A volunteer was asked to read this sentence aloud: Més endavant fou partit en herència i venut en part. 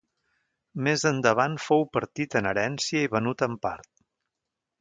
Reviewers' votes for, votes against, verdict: 2, 0, accepted